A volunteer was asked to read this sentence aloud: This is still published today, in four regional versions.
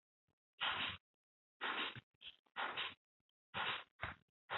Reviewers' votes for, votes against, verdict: 0, 2, rejected